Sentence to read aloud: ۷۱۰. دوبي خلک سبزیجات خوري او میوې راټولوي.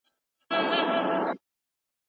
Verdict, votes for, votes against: rejected, 0, 2